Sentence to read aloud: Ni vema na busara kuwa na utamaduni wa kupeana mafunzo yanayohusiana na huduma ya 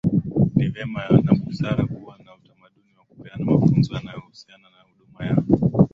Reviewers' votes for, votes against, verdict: 5, 1, accepted